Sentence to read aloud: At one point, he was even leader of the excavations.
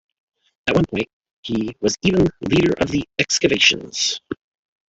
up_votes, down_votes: 1, 3